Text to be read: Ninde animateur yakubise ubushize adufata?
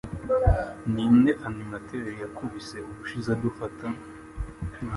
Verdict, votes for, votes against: accepted, 2, 0